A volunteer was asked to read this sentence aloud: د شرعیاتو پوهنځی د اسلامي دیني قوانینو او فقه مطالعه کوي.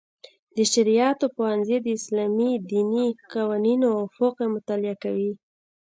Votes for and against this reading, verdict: 2, 0, accepted